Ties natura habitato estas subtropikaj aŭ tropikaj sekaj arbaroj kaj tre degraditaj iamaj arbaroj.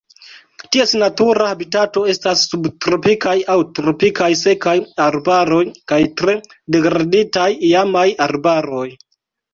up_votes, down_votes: 2, 0